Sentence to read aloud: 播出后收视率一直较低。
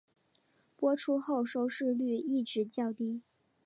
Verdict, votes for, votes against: accepted, 4, 0